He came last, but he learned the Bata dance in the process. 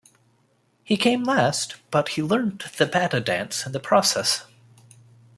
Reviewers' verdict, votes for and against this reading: accepted, 2, 1